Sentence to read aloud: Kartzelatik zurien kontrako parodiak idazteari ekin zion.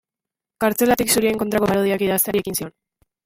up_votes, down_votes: 0, 2